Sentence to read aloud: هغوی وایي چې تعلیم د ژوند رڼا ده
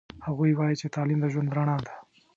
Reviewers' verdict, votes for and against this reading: accepted, 2, 0